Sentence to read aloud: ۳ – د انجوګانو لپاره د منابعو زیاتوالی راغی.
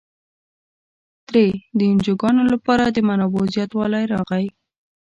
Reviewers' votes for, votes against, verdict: 0, 2, rejected